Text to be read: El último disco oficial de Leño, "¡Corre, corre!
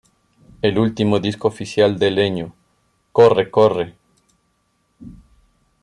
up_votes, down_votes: 1, 2